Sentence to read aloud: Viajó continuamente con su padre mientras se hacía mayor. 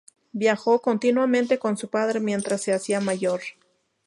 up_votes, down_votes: 2, 0